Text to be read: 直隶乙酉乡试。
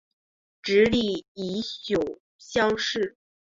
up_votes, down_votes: 7, 1